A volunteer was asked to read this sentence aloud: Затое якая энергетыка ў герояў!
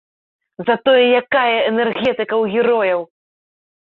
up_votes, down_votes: 2, 0